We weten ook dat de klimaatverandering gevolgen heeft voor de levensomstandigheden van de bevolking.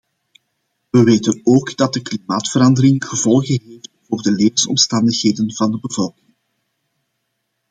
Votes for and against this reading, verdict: 0, 2, rejected